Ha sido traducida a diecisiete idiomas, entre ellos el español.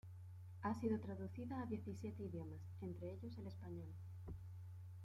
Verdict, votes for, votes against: rejected, 1, 2